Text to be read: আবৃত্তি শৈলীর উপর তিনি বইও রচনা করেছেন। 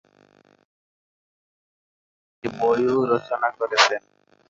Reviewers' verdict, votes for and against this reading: rejected, 1, 3